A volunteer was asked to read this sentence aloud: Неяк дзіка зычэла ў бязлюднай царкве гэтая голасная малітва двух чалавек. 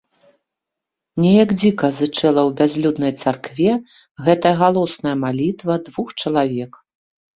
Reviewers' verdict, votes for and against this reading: rejected, 0, 2